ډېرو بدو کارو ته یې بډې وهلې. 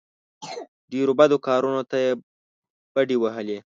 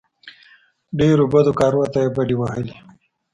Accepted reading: second